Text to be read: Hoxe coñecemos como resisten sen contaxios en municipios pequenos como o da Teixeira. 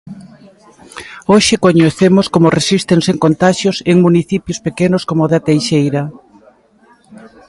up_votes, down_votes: 1, 2